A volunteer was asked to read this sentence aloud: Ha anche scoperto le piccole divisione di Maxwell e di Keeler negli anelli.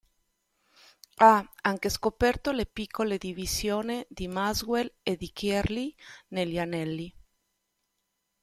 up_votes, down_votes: 1, 2